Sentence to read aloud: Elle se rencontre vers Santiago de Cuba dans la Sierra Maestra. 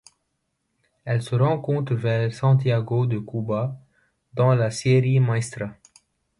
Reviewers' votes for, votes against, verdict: 1, 2, rejected